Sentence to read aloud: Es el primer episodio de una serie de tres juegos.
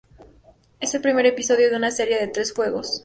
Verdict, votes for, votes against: accepted, 2, 0